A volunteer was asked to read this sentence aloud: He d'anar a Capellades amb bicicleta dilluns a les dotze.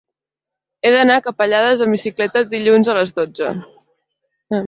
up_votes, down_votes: 2, 0